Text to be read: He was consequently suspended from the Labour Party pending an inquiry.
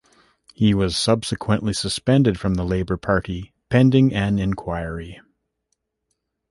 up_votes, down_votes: 1, 2